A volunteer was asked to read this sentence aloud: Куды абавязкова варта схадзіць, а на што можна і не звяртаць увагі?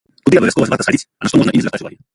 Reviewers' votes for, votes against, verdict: 0, 2, rejected